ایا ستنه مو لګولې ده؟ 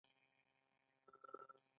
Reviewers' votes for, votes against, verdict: 2, 0, accepted